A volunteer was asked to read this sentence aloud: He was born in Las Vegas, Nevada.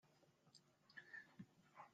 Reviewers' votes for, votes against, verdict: 0, 2, rejected